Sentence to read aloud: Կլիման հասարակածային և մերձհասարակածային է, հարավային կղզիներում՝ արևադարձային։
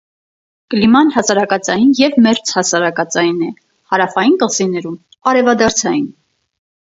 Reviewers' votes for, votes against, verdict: 4, 0, accepted